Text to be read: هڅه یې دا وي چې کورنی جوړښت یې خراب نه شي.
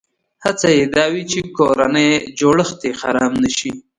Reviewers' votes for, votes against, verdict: 2, 0, accepted